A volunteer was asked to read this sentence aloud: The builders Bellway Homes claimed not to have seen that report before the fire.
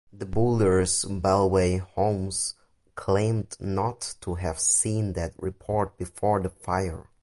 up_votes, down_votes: 0, 2